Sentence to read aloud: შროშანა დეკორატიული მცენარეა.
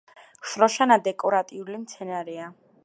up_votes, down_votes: 2, 0